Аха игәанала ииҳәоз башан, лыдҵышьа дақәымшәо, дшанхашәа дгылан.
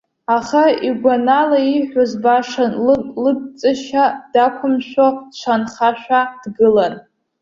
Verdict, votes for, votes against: rejected, 1, 2